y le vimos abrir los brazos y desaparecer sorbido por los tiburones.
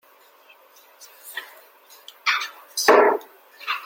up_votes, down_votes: 1, 2